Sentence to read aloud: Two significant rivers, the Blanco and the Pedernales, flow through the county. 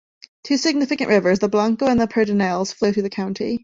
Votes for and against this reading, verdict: 2, 0, accepted